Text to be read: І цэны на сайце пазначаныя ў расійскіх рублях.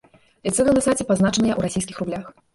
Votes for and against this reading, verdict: 0, 2, rejected